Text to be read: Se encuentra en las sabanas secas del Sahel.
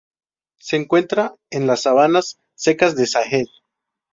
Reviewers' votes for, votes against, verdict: 0, 2, rejected